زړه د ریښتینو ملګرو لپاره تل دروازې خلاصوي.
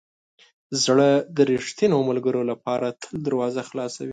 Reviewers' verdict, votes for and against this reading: rejected, 0, 2